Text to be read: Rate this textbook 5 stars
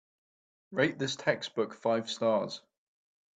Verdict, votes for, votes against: rejected, 0, 2